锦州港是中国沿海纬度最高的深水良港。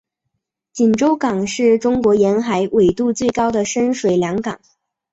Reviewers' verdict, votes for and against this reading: accepted, 6, 0